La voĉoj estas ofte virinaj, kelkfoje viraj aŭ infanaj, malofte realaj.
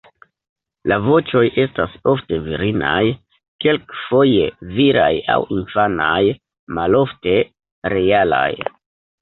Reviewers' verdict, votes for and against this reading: rejected, 1, 2